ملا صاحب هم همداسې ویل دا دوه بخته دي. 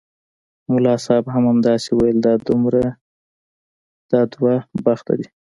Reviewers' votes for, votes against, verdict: 1, 2, rejected